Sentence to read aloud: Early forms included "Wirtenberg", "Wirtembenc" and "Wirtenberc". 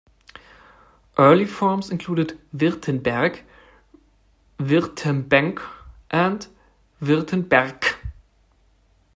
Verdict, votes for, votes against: accepted, 2, 0